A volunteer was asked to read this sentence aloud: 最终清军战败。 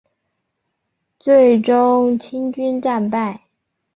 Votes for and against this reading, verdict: 2, 0, accepted